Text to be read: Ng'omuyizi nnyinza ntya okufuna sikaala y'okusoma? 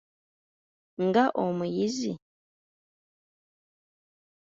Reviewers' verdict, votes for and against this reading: rejected, 0, 2